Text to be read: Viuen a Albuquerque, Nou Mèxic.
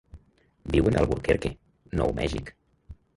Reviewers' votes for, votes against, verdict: 2, 3, rejected